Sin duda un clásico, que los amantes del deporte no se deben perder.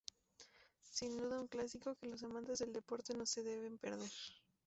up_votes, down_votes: 0, 2